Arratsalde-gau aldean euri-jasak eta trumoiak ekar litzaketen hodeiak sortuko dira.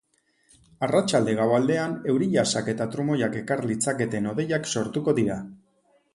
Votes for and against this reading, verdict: 2, 0, accepted